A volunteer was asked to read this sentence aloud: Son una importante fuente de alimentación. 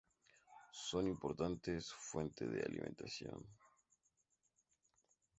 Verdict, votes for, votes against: rejected, 0, 2